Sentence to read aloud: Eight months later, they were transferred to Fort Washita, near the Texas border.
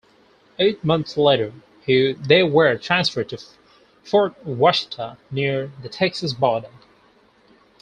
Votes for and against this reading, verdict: 0, 4, rejected